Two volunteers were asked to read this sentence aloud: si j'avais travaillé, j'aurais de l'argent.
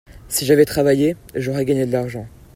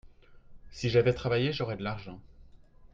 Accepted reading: second